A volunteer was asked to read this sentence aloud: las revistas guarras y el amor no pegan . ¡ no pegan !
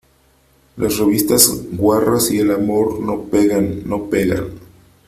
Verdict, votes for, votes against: accepted, 3, 0